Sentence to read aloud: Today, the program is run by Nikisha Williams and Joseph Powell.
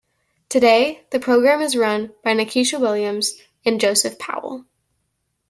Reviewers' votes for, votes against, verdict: 2, 0, accepted